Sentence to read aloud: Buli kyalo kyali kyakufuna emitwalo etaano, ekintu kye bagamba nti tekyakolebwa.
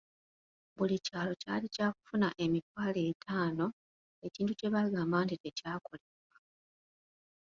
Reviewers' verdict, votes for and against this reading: rejected, 0, 2